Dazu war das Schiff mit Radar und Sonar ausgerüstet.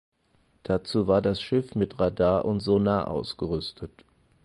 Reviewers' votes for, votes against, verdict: 4, 0, accepted